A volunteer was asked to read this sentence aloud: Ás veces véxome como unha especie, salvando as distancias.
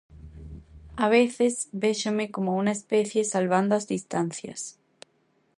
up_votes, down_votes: 0, 2